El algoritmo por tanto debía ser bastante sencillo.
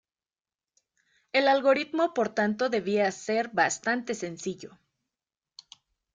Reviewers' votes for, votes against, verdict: 2, 0, accepted